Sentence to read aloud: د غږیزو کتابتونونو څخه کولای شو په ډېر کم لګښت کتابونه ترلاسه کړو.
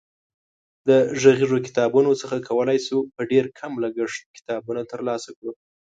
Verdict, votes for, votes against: accepted, 2, 0